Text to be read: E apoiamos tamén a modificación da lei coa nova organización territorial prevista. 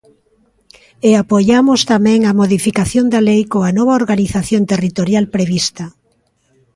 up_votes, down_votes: 3, 0